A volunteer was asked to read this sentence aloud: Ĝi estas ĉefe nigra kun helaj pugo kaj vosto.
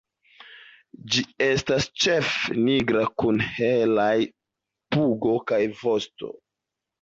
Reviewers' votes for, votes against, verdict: 1, 2, rejected